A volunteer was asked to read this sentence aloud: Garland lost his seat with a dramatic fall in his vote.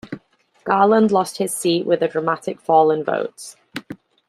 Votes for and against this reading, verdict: 1, 2, rejected